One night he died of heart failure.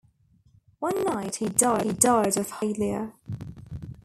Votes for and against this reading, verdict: 1, 2, rejected